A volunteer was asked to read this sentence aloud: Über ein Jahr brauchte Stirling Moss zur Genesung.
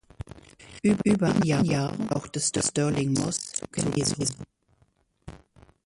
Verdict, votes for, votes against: rejected, 0, 2